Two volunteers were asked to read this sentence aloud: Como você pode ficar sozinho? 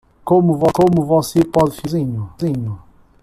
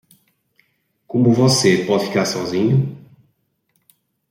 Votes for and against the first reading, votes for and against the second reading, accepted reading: 1, 2, 2, 0, second